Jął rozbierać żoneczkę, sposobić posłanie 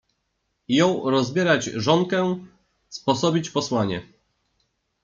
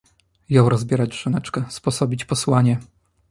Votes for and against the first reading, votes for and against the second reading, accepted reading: 1, 2, 2, 0, second